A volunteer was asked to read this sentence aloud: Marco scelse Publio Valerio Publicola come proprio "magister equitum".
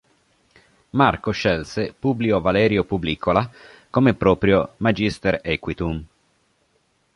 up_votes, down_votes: 1, 2